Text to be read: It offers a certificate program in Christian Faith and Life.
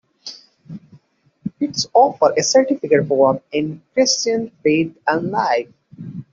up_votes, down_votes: 1, 2